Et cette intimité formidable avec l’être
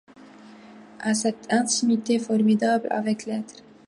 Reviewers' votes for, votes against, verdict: 1, 2, rejected